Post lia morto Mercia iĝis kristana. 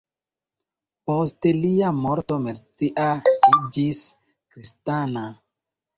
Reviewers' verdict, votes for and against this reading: accepted, 2, 1